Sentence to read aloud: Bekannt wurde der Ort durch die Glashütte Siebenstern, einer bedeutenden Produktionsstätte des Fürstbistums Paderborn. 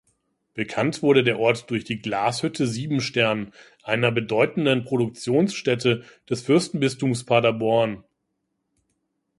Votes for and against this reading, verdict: 1, 2, rejected